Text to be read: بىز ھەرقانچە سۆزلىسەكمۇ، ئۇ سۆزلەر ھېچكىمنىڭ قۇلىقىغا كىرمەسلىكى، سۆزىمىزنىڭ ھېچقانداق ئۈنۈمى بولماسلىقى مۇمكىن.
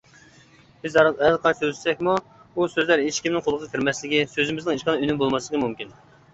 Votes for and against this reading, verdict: 0, 2, rejected